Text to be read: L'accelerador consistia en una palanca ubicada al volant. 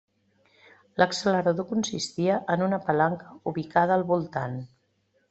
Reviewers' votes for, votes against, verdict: 0, 2, rejected